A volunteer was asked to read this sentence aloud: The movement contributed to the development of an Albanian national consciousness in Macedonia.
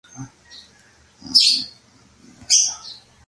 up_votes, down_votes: 0, 2